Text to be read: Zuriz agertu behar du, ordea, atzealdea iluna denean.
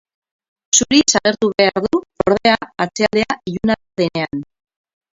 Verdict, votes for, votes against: rejected, 0, 6